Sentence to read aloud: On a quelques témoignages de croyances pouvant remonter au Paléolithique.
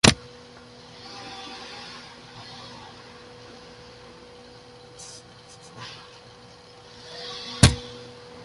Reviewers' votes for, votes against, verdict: 0, 2, rejected